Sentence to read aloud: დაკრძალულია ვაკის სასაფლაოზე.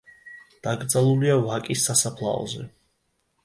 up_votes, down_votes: 2, 0